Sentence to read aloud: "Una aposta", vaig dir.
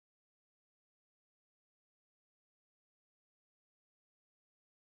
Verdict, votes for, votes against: rejected, 0, 2